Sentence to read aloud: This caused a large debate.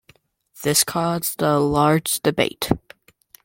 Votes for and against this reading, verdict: 2, 0, accepted